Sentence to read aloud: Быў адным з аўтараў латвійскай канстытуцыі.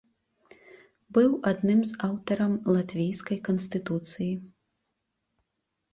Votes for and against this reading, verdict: 1, 2, rejected